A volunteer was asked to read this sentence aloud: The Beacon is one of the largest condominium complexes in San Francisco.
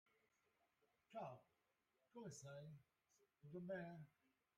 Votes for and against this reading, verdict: 0, 2, rejected